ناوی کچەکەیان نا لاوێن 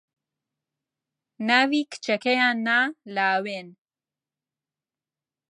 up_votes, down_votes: 2, 0